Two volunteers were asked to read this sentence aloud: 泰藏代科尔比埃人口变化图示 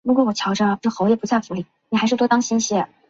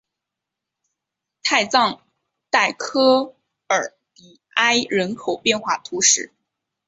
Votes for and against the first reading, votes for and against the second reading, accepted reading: 0, 3, 3, 0, second